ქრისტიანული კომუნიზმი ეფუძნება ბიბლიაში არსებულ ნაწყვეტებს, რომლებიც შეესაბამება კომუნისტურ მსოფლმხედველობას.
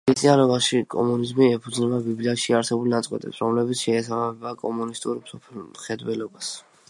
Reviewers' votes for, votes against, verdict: 0, 2, rejected